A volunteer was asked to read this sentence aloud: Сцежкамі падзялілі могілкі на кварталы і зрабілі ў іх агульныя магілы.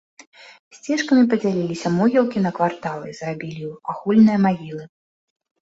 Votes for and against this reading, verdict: 0, 2, rejected